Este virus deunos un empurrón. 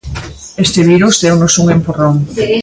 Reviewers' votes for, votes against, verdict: 2, 1, accepted